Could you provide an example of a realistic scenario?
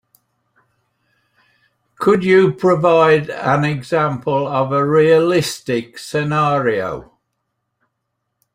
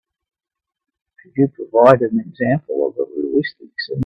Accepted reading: first